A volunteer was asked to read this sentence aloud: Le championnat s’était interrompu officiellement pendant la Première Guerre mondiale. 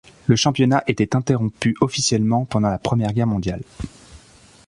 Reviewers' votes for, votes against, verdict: 0, 2, rejected